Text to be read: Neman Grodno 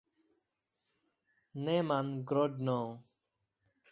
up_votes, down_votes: 2, 0